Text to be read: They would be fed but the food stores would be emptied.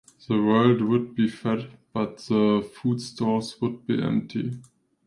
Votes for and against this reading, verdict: 0, 2, rejected